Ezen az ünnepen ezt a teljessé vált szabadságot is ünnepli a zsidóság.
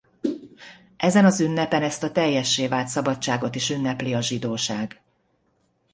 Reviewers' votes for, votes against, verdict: 2, 0, accepted